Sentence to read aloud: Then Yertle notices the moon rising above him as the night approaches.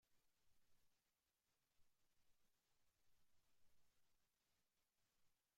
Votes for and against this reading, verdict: 0, 4, rejected